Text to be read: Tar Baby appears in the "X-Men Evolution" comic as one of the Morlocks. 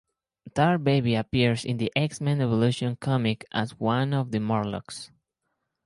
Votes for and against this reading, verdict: 4, 0, accepted